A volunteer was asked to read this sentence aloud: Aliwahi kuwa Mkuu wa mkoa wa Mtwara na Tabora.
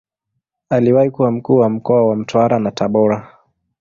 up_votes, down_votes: 2, 0